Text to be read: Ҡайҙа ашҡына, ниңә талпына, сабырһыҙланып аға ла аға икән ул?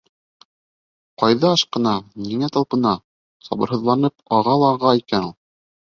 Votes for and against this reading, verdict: 2, 0, accepted